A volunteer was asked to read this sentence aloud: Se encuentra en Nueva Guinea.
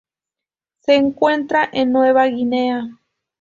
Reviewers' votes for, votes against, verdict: 2, 0, accepted